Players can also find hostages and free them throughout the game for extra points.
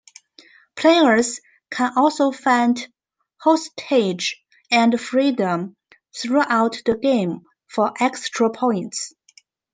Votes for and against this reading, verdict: 1, 2, rejected